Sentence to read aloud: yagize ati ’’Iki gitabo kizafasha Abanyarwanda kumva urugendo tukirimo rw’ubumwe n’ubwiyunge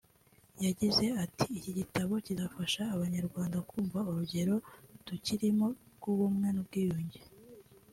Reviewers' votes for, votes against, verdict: 0, 2, rejected